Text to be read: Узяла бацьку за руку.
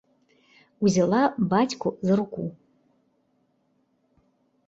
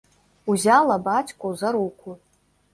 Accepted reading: first